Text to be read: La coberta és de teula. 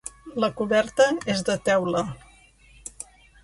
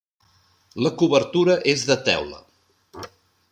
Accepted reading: first